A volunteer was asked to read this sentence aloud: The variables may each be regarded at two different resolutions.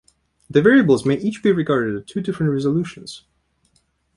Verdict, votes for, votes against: rejected, 0, 2